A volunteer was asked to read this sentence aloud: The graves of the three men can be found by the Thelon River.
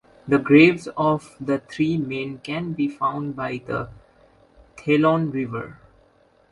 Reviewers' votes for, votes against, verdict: 1, 2, rejected